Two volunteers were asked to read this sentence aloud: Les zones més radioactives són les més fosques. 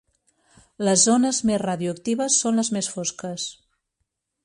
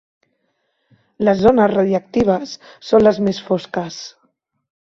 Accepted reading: first